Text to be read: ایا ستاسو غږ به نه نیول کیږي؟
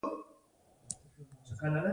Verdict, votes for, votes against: rejected, 0, 2